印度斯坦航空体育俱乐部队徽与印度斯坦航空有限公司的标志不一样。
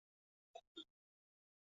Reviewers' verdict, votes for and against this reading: rejected, 2, 4